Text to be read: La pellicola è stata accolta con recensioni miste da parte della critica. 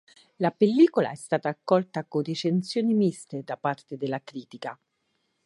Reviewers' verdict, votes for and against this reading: accepted, 4, 0